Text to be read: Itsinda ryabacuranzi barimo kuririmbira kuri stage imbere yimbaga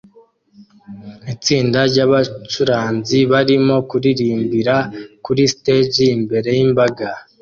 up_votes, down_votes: 2, 0